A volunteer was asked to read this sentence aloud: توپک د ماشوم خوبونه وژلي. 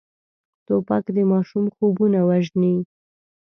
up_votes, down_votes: 0, 2